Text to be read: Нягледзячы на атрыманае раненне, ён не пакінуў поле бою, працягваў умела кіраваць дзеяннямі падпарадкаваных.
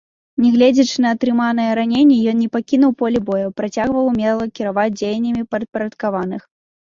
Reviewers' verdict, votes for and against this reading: rejected, 1, 2